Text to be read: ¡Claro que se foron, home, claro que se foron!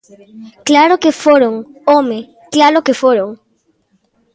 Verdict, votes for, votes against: rejected, 1, 2